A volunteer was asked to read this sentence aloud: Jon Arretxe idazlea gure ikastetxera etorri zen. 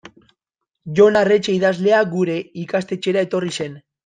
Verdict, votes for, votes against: rejected, 0, 2